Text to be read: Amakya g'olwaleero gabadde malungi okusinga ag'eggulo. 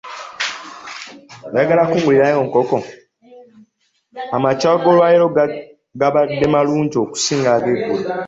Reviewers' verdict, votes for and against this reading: rejected, 0, 2